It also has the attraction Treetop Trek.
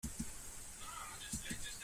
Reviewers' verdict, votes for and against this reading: rejected, 0, 2